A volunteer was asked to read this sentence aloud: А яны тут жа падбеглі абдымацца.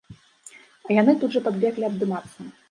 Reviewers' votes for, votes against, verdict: 2, 0, accepted